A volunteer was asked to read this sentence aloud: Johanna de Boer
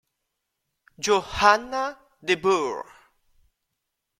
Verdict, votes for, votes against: rejected, 1, 2